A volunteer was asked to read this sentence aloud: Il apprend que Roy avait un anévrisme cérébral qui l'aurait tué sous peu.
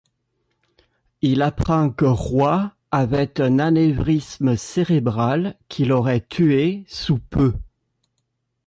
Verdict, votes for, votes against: rejected, 1, 2